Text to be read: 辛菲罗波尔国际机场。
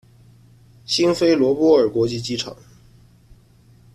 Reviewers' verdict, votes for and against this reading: accepted, 2, 0